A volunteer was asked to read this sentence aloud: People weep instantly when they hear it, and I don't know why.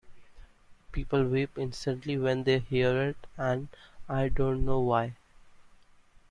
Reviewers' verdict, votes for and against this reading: accepted, 2, 0